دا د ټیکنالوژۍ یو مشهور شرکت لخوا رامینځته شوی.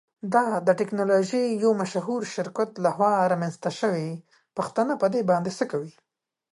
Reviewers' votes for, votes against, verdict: 0, 2, rejected